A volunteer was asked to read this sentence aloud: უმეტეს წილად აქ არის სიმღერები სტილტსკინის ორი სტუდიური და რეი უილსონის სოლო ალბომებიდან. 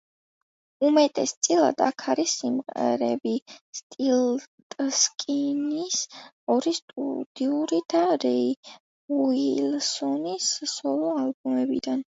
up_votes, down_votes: 2, 0